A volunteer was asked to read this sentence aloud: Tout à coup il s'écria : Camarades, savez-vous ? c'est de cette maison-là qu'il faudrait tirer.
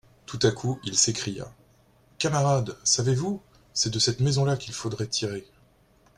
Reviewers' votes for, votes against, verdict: 2, 0, accepted